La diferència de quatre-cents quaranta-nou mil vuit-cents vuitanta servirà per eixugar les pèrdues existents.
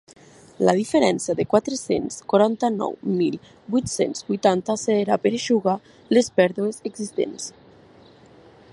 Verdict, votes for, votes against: rejected, 1, 2